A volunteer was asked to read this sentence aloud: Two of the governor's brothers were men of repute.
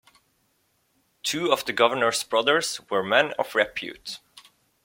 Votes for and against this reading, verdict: 2, 0, accepted